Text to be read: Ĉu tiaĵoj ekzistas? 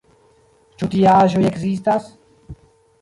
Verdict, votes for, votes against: rejected, 0, 2